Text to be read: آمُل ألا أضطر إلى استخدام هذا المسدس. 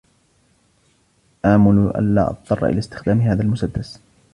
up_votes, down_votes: 2, 1